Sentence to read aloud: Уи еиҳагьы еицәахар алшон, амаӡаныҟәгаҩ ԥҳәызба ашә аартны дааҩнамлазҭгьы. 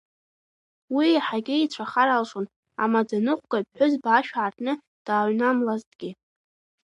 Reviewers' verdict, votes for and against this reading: rejected, 2, 3